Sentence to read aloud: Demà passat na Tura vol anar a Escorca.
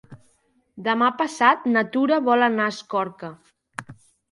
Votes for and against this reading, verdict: 4, 0, accepted